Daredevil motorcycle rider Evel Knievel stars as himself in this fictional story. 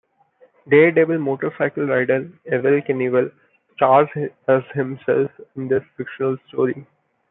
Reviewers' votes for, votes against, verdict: 0, 2, rejected